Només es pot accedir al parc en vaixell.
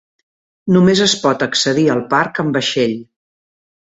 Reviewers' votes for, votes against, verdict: 3, 1, accepted